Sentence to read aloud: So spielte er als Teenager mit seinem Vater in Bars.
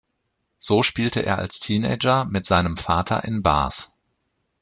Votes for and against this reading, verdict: 2, 0, accepted